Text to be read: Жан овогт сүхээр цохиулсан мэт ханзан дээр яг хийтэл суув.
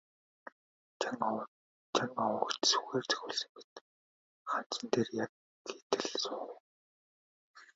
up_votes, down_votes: 3, 2